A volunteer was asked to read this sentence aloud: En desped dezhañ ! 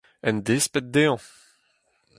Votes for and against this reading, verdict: 4, 2, accepted